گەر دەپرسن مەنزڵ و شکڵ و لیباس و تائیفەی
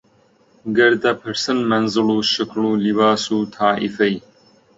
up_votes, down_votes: 2, 0